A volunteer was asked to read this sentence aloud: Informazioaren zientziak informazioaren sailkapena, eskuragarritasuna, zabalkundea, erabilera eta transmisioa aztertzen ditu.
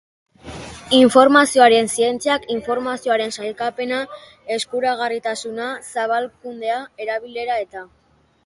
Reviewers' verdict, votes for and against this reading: rejected, 0, 3